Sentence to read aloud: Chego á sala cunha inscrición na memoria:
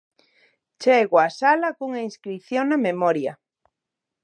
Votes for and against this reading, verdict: 2, 0, accepted